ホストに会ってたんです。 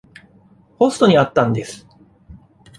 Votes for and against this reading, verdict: 1, 2, rejected